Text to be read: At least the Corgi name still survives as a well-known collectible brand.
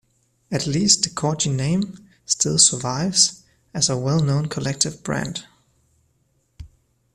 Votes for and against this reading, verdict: 0, 2, rejected